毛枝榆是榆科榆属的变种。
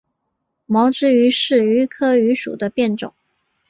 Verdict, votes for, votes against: accepted, 3, 0